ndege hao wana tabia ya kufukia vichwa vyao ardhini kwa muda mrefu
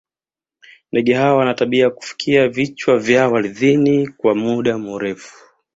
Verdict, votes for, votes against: accepted, 2, 0